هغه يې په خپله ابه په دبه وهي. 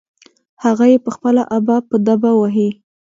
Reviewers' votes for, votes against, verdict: 2, 0, accepted